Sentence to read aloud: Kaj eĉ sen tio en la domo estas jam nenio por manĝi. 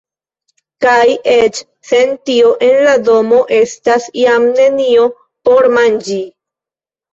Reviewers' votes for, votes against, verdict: 1, 2, rejected